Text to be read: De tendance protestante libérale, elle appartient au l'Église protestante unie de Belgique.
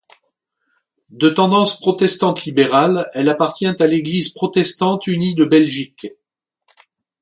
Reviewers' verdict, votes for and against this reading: rejected, 1, 2